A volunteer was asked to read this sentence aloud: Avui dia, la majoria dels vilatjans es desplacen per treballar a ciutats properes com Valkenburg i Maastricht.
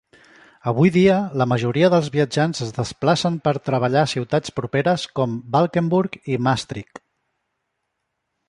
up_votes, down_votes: 1, 2